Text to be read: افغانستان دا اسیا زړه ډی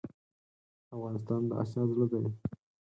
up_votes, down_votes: 4, 0